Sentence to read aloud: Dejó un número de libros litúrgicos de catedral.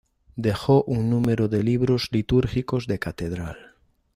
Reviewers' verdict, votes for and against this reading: accepted, 2, 0